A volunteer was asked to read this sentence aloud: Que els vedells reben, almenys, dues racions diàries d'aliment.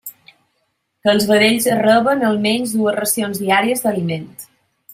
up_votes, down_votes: 1, 2